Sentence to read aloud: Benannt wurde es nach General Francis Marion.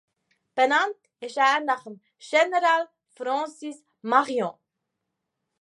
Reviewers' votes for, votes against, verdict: 0, 2, rejected